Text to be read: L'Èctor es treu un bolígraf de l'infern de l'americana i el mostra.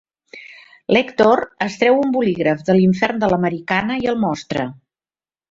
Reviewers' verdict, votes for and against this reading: accepted, 3, 0